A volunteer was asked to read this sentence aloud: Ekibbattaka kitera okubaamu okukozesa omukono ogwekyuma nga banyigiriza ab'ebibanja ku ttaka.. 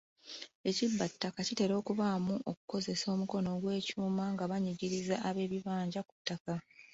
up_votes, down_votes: 0, 2